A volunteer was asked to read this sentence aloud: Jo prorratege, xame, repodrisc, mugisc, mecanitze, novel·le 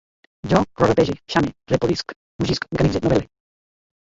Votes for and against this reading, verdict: 1, 3, rejected